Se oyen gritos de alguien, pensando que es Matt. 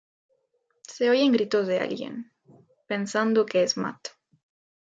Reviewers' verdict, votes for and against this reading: accepted, 2, 0